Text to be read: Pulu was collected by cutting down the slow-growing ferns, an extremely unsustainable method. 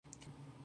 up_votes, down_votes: 0, 2